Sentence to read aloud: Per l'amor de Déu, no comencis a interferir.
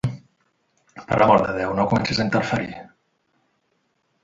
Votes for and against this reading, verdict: 3, 2, accepted